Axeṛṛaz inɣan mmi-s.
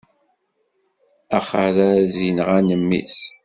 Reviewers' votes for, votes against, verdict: 2, 0, accepted